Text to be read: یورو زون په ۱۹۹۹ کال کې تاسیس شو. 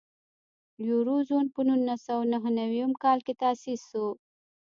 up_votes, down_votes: 0, 2